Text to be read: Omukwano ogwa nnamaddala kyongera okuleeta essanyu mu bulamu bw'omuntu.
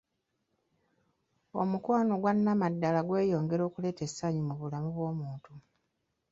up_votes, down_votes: 0, 2